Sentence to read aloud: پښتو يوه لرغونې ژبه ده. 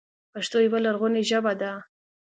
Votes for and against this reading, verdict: 3, 0, accepted